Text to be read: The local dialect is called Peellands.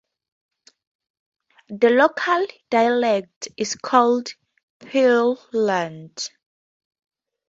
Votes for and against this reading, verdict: 4, 4, rejected